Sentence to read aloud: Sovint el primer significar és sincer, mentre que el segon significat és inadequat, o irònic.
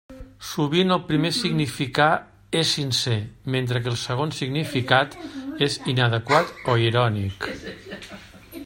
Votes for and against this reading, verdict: 2, 0, accepted